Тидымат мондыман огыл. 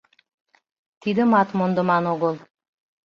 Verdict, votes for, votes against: accepted, 2, 0